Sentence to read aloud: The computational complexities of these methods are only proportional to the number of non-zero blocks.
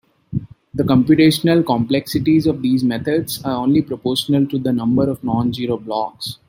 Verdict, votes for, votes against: accepted, 2, 1